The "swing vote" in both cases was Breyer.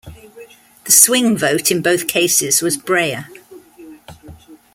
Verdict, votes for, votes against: accepted, 2, 0